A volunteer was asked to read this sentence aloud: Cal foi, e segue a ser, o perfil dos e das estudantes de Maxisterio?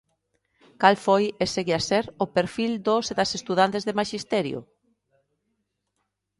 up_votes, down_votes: 2, 0